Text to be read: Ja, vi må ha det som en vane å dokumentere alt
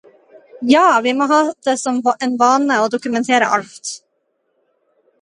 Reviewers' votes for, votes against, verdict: 0, 2, rejected